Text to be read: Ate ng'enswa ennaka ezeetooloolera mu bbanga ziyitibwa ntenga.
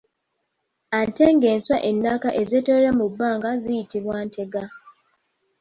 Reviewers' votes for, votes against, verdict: 1, 2, rejected